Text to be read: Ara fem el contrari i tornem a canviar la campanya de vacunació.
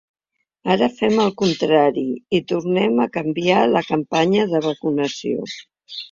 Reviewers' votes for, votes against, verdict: 0, 2, rejected